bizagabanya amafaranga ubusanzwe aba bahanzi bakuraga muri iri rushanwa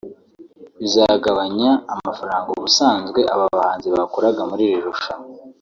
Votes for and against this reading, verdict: 2, 0, accepted